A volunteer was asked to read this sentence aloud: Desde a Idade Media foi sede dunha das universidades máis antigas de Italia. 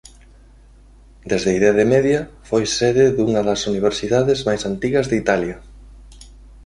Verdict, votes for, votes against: accepted, 2, 0